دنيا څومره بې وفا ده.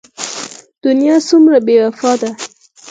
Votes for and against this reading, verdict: 2, 4, rejected